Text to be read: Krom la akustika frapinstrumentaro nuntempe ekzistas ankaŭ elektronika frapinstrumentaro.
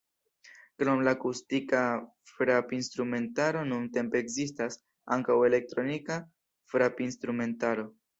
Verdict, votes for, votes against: accepted, 2, 0